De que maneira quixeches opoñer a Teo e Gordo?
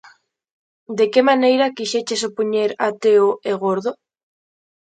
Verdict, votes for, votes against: accepted, 2, 0